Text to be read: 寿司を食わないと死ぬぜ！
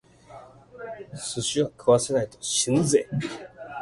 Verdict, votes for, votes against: rejected, 0, 2